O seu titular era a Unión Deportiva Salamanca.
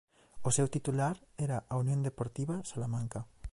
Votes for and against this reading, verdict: 2, 0, accepted